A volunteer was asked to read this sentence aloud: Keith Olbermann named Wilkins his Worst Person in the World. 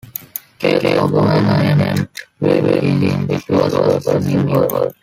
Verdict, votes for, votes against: rejected, 0, 2